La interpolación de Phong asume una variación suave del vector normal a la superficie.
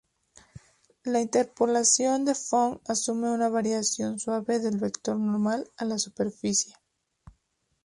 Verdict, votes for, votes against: accepted, 4, 0